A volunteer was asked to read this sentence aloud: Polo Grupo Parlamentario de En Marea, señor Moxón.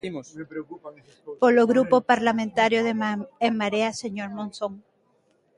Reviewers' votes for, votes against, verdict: 0, 2, rejected